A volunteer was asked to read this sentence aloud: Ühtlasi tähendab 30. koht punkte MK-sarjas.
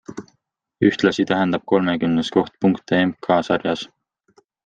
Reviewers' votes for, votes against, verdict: 0, 2, rejected